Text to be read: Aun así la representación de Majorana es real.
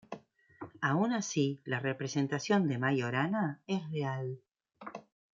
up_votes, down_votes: 2, 0